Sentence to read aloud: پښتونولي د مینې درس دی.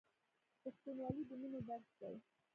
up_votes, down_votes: 2, 0